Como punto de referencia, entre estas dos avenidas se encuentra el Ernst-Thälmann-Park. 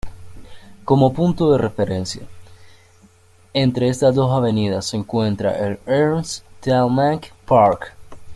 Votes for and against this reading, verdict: 1, 2, rejected